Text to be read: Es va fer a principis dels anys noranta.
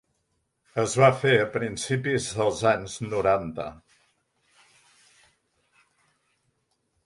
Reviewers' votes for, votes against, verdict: 3, 0, accepted